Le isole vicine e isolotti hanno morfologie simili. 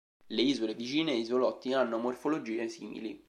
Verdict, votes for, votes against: accepted, 2, 0